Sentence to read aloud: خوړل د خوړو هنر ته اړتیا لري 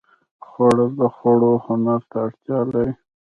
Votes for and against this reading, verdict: 0, 2, rejected